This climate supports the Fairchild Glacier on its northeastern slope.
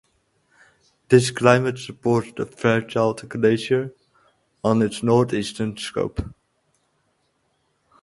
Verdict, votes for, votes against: rejected, 2, 2